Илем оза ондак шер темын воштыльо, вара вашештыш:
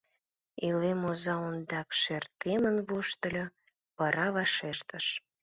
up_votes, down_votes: 2, 0